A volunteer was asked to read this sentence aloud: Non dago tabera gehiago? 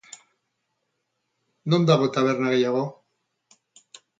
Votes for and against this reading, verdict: 0, 2, rejected